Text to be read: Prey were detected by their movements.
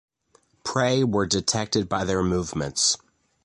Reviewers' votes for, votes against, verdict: 2, 0, accepted